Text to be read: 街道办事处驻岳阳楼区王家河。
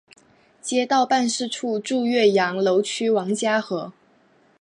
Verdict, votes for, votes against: rejected, 1, 3